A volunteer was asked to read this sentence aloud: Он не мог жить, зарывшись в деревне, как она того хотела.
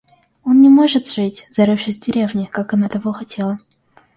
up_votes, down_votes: 1, 2